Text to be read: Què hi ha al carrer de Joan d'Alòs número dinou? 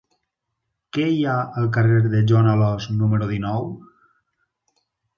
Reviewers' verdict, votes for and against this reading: rejected, 0, 4